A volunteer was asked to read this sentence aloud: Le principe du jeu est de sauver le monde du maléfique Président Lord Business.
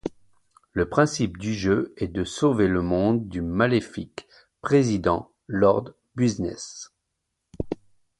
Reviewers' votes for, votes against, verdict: 2, 0, accepted